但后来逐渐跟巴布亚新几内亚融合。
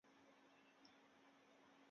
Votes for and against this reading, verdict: 0, 3, rejected